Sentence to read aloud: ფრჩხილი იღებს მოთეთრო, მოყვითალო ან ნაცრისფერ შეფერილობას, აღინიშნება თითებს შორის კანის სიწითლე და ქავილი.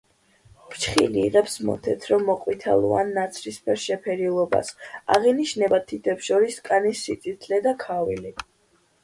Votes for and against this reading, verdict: 2, 1, accepted